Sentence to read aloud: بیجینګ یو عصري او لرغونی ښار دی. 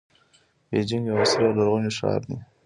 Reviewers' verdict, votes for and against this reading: accepted, 2, 0